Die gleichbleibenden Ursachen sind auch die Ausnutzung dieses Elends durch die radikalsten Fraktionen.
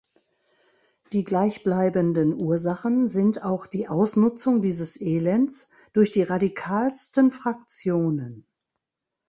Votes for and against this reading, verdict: 3, 0, accepted